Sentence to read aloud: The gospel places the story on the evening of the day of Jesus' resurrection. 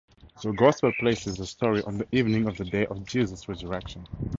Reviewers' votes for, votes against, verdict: 4, 0, accepted